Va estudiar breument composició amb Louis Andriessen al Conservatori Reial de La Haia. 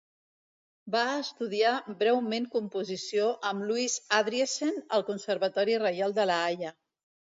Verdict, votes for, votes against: rejected, 0, 2